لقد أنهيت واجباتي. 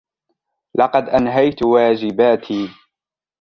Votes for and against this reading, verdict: 2, 0, accepted